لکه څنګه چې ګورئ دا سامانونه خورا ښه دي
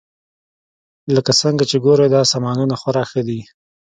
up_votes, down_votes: 2, 0